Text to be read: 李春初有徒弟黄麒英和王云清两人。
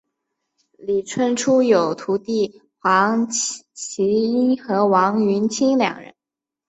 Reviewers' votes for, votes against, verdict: 3, 0, accepted